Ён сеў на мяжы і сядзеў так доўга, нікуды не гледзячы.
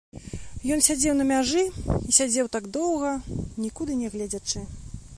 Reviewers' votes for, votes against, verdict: 0, 2, rejected